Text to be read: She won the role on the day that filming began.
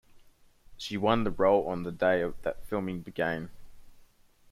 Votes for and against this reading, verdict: 1, 2, rejected